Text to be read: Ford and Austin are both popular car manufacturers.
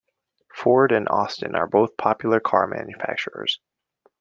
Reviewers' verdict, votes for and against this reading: accepted, 2, 0